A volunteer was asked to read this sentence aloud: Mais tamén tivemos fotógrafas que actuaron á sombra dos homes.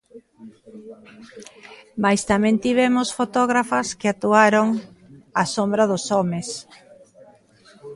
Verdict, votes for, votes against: accepted, 2, 0